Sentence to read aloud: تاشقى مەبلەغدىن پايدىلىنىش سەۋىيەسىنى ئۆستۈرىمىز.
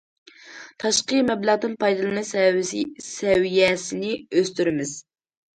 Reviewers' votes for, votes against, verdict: 0, 2, rejected